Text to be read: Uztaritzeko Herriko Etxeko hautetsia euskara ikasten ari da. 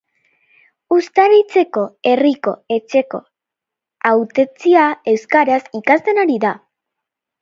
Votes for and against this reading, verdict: 0, 2, rejected